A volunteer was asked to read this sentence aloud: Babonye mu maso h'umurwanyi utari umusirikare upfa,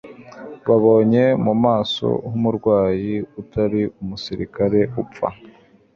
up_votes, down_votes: 1, 2